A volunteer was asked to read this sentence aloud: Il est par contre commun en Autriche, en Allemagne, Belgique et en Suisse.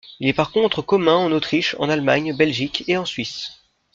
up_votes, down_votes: 3, 0